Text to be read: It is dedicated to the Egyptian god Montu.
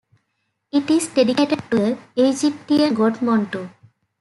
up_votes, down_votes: 2, 1